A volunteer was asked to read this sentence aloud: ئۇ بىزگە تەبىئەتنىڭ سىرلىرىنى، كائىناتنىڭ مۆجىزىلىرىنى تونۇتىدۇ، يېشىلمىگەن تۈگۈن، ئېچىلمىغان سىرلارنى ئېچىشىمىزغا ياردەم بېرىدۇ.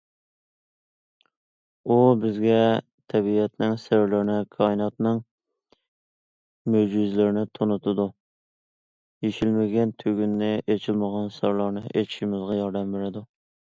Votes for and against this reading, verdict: 0, 2, rejected